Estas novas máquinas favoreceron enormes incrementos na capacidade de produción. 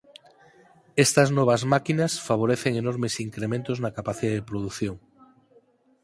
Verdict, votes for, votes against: rejected, 2, 6